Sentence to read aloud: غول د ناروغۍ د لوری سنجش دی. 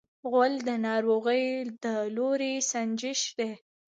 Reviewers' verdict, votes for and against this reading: rejected, 1, 2